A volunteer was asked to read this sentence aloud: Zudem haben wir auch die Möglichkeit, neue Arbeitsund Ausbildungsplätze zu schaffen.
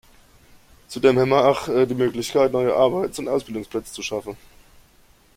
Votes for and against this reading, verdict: 1, 2, rejected